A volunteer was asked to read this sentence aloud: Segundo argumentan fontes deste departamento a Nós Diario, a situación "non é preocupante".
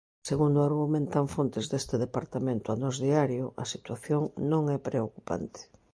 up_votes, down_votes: 2, 0